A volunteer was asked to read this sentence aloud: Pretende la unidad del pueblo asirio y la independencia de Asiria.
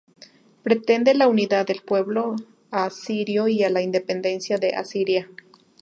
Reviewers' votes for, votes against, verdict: 0, 2, rejected